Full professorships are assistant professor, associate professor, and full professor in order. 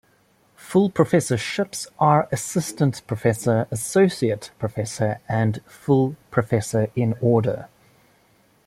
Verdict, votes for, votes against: accepted, 2, 0